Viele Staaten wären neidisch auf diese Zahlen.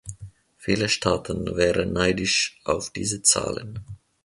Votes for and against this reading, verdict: 2, 0, accepted